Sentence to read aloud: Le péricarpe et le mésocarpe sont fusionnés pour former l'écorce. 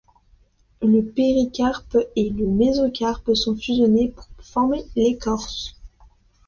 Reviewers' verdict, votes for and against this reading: accepted, 2, 0